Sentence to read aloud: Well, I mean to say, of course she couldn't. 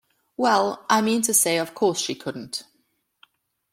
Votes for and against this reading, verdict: 2, 0, accepted